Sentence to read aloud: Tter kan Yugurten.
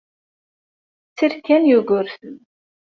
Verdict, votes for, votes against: rejected, 1, 2